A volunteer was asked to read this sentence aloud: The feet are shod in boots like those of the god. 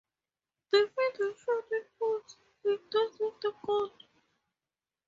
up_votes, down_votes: 0, 2